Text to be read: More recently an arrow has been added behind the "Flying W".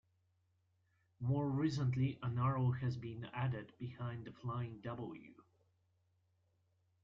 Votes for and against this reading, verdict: 2, 1, accepted